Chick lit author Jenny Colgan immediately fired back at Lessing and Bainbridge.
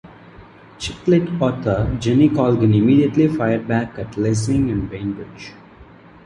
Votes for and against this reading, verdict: 2, 1, accepted